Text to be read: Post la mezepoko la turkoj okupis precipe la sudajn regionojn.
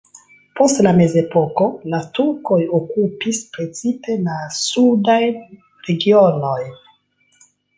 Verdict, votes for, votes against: accepted, 2, 0